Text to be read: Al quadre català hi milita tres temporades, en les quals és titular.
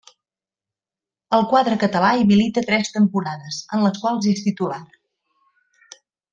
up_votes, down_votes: 2, 0